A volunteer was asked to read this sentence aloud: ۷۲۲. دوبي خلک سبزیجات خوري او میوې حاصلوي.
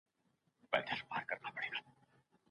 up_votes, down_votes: 0, 2